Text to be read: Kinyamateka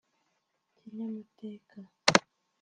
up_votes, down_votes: 1, 2